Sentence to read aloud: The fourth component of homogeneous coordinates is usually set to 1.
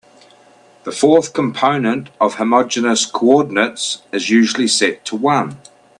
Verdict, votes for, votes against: rejected, 0, 2